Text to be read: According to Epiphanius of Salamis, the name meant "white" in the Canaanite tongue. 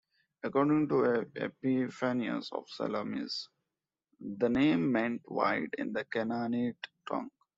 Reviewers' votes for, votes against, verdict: 0, 2, rejected